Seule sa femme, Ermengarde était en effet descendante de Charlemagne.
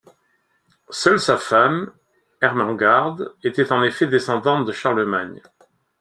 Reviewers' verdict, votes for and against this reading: accepted, 2, 0